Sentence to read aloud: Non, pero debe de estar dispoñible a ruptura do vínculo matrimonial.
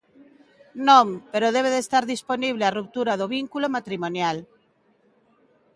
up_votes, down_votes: 1, 2